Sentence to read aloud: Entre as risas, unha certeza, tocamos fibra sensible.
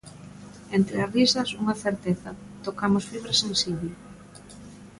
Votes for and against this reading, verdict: 2, 0, accepted